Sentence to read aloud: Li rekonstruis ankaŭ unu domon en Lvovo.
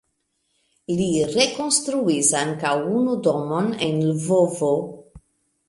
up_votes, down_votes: 2, 1